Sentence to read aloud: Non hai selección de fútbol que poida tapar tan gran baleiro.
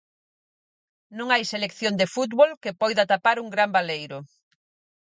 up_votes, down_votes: 0, 4